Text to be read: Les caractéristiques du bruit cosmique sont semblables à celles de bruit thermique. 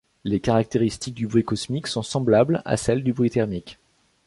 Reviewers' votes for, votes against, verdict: 0, 2, rejected